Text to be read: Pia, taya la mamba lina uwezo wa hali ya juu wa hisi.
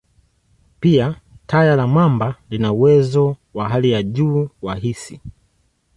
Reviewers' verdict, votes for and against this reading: accepted, 2, 0